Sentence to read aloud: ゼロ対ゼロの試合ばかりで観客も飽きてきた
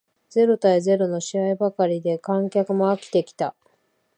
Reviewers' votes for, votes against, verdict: 3, 0, accepted